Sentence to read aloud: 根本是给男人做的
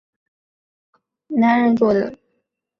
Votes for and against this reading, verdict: 1, 2, rejected